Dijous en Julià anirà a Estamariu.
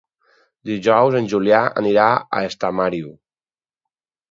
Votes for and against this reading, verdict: 4, 0, accepted